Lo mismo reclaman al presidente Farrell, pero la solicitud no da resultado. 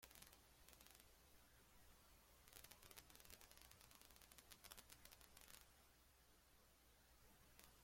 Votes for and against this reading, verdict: 0, 2, rejected